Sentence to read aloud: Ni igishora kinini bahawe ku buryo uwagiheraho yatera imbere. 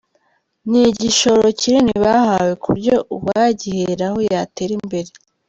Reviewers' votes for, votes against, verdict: 1, 2, rejected